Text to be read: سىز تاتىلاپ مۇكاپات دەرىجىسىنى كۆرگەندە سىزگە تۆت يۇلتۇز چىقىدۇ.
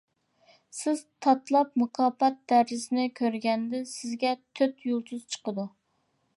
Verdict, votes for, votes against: rejected, 1, 2